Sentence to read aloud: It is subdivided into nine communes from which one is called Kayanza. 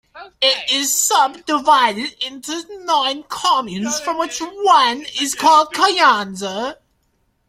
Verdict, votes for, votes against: rejected, 0, 2